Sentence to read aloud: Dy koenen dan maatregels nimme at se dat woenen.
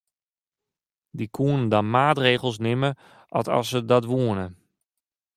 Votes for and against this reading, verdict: 0, 2, rejected